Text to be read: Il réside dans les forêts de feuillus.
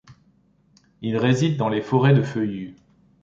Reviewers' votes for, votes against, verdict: 2, 0, accepted